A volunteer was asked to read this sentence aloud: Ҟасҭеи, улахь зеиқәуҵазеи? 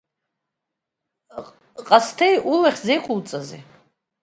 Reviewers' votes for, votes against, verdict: 2, 0, accepted